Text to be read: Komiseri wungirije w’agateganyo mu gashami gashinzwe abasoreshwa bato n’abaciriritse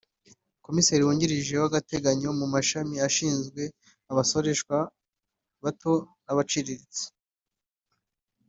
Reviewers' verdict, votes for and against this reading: rejected, 0, 2